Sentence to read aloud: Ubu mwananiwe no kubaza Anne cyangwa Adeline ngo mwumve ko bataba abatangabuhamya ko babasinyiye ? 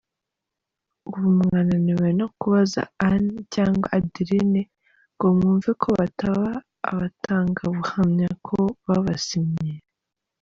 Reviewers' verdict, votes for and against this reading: rejected, 1, 2